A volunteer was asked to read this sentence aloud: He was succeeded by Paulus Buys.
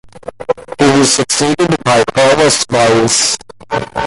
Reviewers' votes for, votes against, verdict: 1, 2, rejected